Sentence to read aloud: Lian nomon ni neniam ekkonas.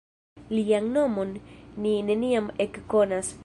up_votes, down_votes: 2, 0